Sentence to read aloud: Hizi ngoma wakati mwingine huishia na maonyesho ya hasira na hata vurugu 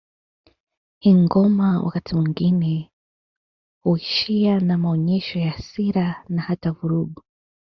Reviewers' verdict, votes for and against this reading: rejected, 0, 2